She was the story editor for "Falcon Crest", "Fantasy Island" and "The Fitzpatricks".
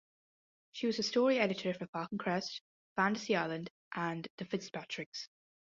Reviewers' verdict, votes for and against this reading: accepted, 2, 0